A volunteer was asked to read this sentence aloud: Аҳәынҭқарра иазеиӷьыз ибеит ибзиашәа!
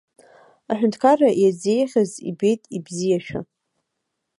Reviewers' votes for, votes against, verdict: 3, 0, accepted